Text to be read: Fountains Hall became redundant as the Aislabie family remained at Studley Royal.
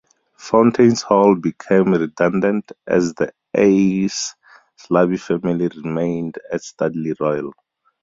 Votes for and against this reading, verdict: 2, 4, rejected